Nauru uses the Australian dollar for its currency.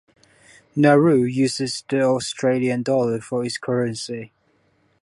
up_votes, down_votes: 2, 0